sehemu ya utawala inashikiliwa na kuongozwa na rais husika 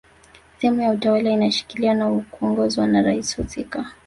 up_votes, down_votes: 1, 2